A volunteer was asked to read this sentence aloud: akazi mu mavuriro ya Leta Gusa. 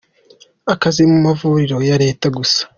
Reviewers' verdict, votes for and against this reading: accepted, 2, 0